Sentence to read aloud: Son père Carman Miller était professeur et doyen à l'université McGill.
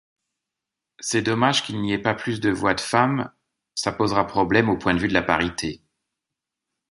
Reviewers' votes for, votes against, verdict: 0, 2, rejected